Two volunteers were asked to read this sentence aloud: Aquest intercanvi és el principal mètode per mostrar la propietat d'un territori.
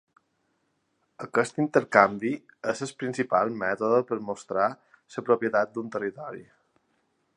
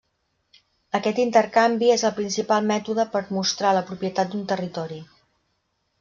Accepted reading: second